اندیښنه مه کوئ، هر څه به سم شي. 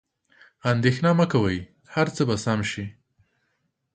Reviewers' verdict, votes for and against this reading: accepted, 2, 0